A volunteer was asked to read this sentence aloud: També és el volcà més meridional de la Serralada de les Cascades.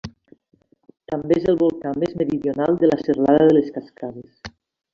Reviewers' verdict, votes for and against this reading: accepted, 2, 1